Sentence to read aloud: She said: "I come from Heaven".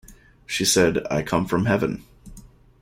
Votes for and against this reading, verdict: 2, 0, accepted